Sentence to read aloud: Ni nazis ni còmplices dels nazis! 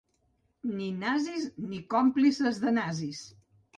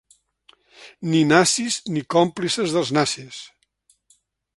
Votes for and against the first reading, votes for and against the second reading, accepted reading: 0, 3, 3, 1, second